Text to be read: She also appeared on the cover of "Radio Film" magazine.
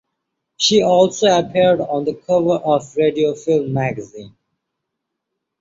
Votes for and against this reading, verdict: 2, 0, accepted